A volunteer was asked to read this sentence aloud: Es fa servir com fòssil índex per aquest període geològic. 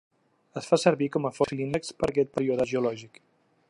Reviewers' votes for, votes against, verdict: 0, 2, rejected